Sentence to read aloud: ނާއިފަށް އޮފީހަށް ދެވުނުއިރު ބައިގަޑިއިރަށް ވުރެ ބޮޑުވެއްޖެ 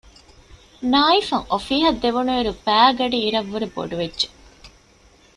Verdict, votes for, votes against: accepted, 2, 0